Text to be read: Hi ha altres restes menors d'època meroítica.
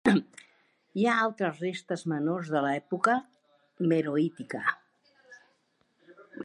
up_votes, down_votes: 1, 2